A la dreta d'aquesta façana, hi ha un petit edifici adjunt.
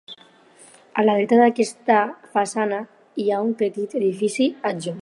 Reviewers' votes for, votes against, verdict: 4, 0, accepted